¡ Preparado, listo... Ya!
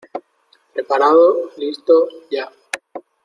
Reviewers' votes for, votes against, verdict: 2, 0, accepted